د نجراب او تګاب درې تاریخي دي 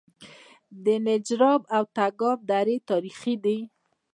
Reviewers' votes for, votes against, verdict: 0, 2, rejected